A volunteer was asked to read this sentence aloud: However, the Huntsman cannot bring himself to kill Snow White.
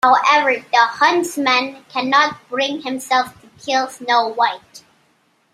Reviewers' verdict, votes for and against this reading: rejected, 0, 2